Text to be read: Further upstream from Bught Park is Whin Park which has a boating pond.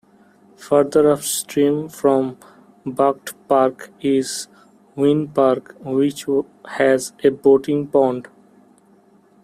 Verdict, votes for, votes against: rejected, 0, 2